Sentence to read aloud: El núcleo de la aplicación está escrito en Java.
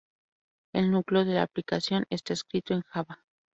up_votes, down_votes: 4, 0